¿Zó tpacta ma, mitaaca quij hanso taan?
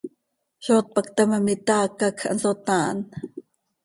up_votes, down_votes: 2, 0